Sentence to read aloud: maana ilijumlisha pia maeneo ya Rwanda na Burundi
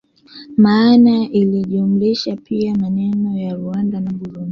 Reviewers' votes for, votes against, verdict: 1, 2, rejected